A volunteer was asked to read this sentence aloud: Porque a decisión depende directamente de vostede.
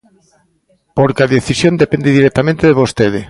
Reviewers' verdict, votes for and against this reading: accepted, 2, 0